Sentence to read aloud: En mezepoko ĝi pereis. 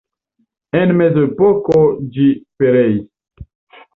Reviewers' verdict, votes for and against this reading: rejected, 1, 2